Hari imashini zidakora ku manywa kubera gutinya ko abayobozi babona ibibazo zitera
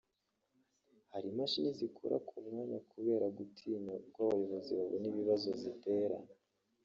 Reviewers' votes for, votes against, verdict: 0, 2, rejected